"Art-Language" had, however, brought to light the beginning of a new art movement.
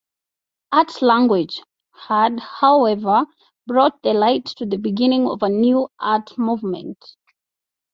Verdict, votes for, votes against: accepted, 2, 0